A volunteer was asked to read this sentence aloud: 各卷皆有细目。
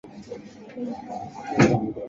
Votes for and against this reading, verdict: 2, 3, rejected